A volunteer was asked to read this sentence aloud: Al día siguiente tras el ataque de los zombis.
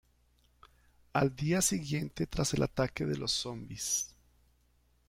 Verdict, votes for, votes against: accepted, 2, 0